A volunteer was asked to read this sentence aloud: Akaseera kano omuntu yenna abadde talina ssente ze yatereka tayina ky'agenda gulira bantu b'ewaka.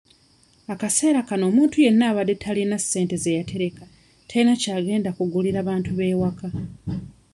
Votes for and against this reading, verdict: 2, 0, accepted